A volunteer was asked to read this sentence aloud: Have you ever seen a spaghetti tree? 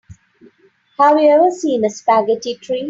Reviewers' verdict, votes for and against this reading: accepted, 2, 1